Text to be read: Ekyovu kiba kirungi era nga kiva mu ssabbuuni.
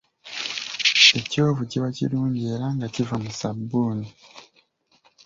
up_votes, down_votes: 2, 1